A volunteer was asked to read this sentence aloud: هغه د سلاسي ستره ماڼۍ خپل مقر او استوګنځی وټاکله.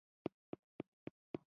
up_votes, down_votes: 0, 2